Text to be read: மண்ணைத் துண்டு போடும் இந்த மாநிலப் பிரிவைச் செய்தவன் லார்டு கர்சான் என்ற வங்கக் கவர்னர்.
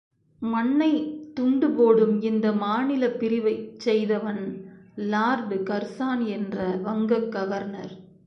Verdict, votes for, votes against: accepted, 2, 0